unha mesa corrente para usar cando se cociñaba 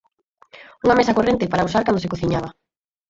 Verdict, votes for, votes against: rejected, 0, 4